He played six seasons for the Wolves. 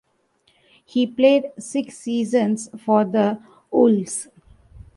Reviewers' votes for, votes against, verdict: 2, 0, accepted